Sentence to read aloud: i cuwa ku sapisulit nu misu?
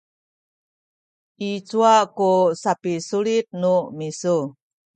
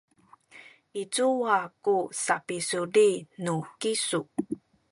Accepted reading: first